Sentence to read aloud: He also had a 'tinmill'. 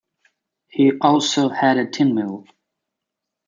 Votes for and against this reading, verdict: 2, 0, accepted